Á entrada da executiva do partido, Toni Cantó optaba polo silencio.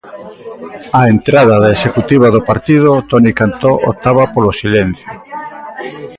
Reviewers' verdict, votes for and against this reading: rejected, 1, 2